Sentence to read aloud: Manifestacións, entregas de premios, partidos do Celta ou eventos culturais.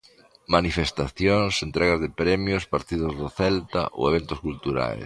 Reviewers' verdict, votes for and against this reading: rejected, 1, 2